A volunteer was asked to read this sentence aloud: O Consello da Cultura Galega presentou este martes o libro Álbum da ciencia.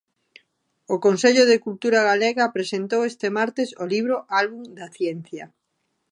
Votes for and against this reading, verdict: 1, 2, rejected